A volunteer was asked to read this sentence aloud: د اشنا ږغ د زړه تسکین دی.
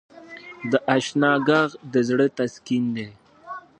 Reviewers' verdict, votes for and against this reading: rejected, 1, 2